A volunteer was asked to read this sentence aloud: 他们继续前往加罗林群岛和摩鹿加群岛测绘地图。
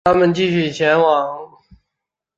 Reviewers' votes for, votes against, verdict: 0, 3, rejected